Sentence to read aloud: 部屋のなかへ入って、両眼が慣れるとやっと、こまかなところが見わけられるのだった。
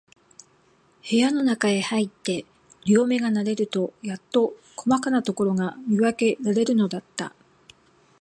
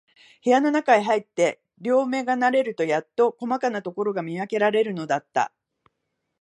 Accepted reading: second